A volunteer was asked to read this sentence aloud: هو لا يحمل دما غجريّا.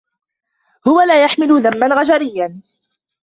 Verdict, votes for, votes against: rejected, 0, 2